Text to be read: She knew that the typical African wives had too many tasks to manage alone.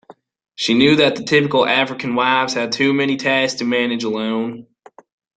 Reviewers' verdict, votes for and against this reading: accepted, 2, 0